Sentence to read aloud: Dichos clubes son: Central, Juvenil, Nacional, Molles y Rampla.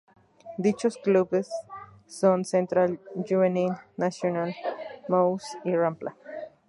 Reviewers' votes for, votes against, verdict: 0, 2, rejected